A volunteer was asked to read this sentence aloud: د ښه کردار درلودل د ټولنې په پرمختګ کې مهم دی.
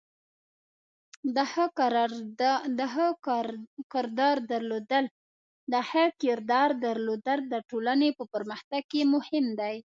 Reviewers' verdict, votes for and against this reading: rejected, 1, 2